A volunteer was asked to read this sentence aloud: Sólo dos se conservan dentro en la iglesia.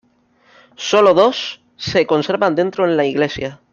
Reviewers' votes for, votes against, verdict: 2, 1, accepted